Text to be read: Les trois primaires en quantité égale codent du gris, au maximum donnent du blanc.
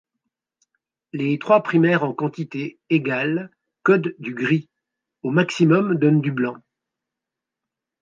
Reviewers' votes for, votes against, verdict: 2, 1, accepted